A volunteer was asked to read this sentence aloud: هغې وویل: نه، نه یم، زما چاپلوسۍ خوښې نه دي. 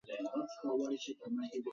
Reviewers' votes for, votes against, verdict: 0, 2, rejected